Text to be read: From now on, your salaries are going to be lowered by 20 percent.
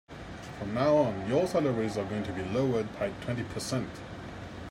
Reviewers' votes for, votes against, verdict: 0, 2, rejected